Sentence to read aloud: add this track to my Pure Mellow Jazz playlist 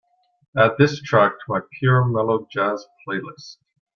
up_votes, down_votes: 2, 0